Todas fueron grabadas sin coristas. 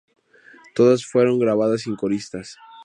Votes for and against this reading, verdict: 4, 0, accepted